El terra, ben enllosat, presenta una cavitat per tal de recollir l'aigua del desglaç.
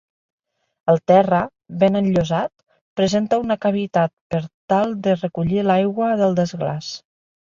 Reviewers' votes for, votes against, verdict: 3, 0, accepted